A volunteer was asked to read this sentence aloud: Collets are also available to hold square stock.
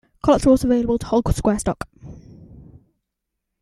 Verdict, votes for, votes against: rejected, 1, 2